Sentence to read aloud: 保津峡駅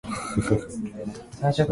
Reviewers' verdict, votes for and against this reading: rejected, 1, 4